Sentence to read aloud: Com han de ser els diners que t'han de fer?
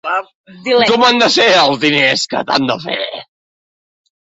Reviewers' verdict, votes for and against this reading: rejected, 1, 2